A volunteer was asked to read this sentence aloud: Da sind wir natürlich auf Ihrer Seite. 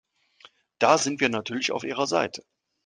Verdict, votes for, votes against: accepted, 3, 0